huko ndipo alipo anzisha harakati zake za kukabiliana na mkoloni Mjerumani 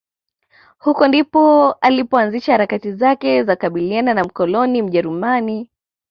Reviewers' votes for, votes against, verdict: 2, 0, accepted